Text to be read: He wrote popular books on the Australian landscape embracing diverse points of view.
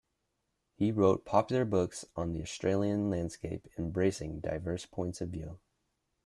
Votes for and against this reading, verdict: 2, 1, accepted